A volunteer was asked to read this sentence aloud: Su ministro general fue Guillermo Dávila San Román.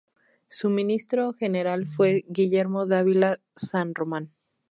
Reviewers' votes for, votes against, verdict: 2, 0, accepted